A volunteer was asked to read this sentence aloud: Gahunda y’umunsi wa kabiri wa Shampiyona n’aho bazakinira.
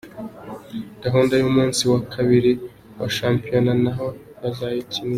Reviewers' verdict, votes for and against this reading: rejected, 1, 2